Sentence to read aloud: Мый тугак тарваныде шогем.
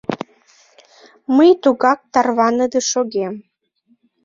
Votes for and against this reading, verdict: 2, 0, accepted